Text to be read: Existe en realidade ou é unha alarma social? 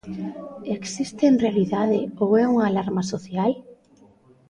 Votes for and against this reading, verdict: 2, 0, accepted